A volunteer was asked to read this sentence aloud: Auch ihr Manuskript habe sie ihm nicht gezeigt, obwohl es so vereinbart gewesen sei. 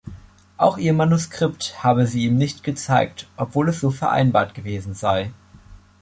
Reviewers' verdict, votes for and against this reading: accepted, 2, 0